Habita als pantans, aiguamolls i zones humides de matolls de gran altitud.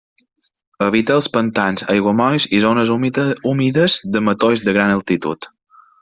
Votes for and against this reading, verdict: 0, 2, rejected